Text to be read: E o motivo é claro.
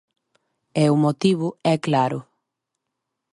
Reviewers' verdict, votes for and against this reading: accepted, 2, 0